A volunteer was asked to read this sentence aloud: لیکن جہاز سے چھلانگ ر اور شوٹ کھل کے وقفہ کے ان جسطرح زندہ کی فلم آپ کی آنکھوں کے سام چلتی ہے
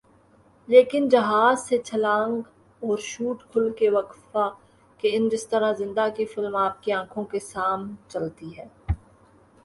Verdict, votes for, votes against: rejected, 1, 2